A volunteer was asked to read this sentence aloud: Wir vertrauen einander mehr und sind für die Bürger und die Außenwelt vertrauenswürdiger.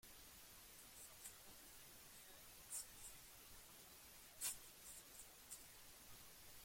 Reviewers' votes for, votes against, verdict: 0, 3, rejected